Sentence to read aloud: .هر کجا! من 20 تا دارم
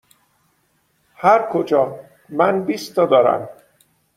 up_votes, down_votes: 0, 2